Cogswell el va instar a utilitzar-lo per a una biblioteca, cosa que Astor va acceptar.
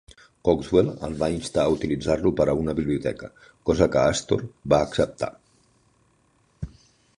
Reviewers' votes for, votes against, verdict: 1, 2, rejected